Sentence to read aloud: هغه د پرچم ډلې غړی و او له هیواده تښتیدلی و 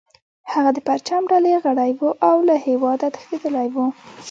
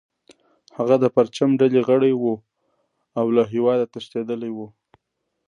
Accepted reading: second